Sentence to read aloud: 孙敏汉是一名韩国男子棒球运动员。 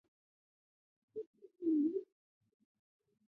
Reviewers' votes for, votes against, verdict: 0, 2, rejected